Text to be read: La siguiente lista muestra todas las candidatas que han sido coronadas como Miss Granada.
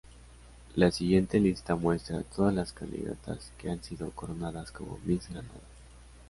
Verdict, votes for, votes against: accepted, 2, 0